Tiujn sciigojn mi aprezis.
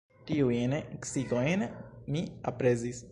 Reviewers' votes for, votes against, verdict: 2, 1, accepted